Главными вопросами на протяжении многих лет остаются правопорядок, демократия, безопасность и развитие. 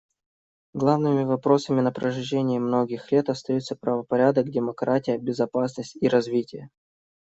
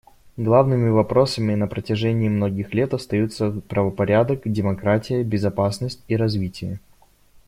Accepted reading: second